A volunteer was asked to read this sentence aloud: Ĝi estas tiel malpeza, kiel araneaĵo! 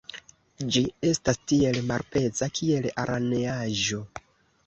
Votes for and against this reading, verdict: 2, 0, accepted